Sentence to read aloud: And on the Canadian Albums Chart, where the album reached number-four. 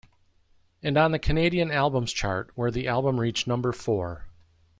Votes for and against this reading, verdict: 2, 0, accepted